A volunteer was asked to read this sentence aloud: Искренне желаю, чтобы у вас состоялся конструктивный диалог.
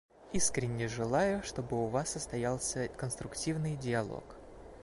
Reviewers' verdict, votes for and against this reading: accepted, 2, 1